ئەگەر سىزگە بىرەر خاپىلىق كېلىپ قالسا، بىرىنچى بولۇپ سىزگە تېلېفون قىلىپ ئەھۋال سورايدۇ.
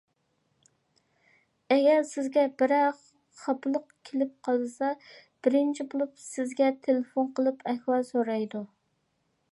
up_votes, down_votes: 2, 0